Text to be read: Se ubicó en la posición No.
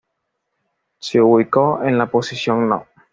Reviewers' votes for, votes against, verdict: 2, 0, accepted